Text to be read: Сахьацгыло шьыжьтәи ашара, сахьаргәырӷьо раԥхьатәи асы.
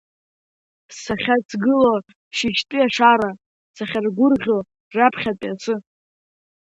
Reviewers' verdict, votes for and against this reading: accepted, 2, 0